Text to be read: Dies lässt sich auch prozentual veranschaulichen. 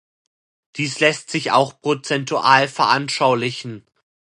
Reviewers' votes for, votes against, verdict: 2, 0, accepted